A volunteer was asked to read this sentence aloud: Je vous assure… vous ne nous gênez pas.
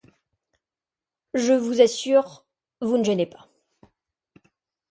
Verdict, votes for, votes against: rejected, 0, 2